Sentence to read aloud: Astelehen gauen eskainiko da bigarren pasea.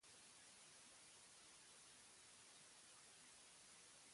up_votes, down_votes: 0, 4